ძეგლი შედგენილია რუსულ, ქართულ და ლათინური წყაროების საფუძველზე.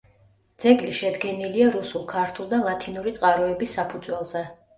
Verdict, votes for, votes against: accepted, 2, 0